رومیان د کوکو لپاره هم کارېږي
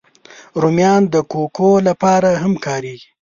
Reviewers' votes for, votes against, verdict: 2, 0, accepted